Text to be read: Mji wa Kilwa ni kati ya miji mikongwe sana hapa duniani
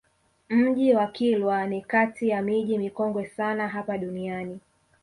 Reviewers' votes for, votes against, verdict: 0, 2, rejected